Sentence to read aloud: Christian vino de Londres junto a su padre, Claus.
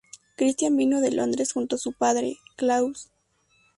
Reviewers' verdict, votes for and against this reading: accepted, 2, 0